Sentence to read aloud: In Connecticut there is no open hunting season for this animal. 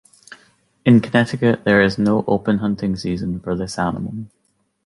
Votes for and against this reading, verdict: 3, 0, accepted